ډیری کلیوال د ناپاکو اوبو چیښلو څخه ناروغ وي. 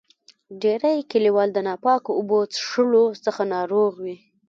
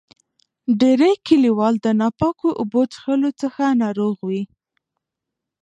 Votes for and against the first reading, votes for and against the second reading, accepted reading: 2, 1, 0, 2, first